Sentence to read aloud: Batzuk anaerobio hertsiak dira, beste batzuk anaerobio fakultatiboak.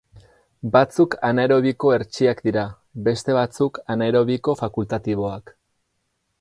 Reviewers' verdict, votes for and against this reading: rejected, 0, 10